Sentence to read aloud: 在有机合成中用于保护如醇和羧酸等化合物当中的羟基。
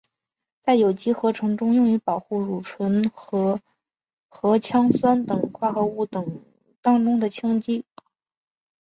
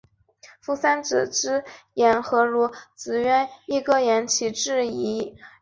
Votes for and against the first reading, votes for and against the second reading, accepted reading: 2, 1, 0, 2, first